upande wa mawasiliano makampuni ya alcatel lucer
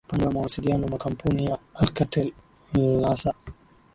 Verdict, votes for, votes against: rejected, 1, 2